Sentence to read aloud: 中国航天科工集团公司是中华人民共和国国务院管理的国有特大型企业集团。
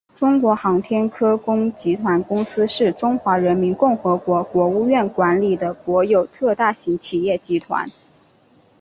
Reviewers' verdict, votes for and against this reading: accepted, 6, 1